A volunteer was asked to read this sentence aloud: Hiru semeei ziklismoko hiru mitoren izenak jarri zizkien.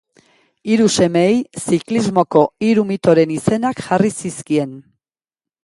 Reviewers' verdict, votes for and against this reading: accepted, 2, 0